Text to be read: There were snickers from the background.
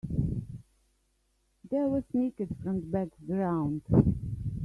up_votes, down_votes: 1, 2